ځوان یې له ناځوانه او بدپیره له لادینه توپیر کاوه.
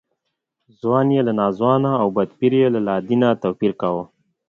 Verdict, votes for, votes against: accepted, 2, 0